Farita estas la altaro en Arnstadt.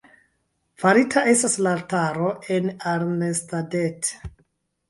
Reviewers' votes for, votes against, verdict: 2, 0, accepted